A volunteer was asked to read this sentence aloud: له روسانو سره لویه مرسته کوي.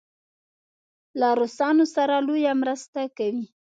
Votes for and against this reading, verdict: 2, 0, accepted